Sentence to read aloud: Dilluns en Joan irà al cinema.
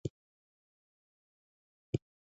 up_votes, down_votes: 0, 2